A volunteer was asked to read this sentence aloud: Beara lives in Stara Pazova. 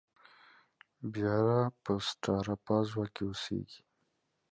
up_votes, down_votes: 0, 2